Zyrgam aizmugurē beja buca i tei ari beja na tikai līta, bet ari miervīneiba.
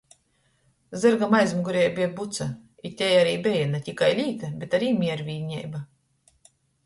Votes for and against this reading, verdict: 2, 0, accepted